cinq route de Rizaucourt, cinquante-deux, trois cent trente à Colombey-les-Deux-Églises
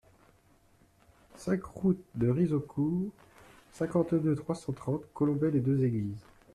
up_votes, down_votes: 1, 2